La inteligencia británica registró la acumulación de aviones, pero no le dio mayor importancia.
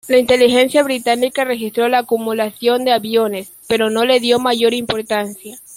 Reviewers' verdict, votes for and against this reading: accepted, 2, 0